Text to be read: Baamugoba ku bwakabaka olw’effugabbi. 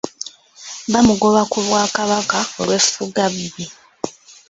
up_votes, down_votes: 2, 1